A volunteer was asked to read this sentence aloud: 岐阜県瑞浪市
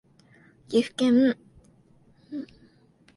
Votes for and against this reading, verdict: 0, 2, rejected